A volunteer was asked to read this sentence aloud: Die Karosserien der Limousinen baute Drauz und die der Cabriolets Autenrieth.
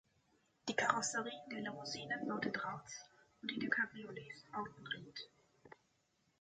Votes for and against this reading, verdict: 3, 1, accepted